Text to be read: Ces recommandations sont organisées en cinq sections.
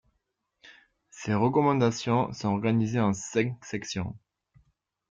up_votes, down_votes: 3, 0